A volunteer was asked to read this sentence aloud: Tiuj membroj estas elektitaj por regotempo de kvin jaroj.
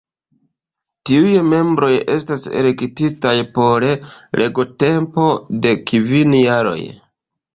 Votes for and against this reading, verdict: 2, 1, accepted